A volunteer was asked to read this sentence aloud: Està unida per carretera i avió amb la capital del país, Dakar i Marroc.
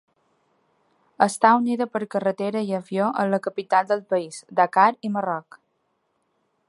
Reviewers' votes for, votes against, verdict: 2, 0, accepted